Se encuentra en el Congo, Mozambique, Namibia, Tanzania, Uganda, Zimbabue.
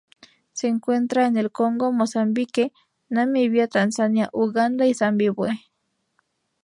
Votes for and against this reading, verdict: 0, 2, rejected